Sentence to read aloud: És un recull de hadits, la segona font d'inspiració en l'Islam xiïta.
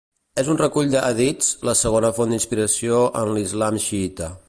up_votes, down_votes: 2, 0